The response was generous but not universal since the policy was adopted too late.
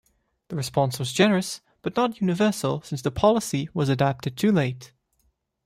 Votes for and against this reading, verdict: 2, 1, accepted